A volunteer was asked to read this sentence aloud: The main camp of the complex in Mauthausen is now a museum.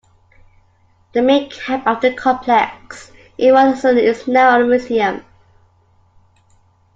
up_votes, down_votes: 0, 2